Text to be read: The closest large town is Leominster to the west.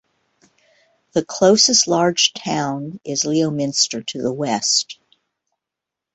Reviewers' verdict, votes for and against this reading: accepted, 2, 0